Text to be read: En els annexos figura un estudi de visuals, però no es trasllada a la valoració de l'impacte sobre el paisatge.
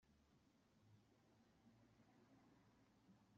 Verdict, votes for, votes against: rejected, 0, 2